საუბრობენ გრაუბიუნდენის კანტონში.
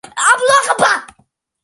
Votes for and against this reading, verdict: 0, 2, rejected